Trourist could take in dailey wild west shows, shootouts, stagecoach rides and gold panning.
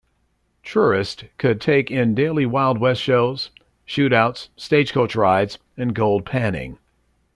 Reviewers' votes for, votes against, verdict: 2, 0, accepted